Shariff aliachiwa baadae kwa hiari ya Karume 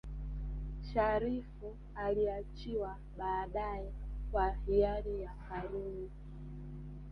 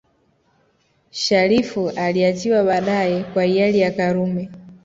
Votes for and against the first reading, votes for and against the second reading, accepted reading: 0, 2, 2, 1, second